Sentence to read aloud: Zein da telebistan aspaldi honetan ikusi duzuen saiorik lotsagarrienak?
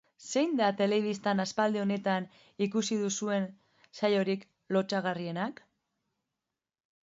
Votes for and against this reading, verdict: 2, 0, accepted